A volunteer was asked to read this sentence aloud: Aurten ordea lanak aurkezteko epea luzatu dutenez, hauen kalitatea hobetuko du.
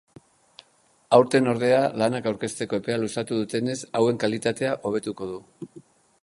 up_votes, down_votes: 3, 0